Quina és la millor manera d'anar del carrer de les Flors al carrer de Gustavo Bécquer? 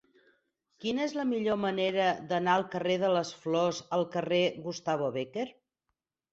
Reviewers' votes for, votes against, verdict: 0, 4, rejected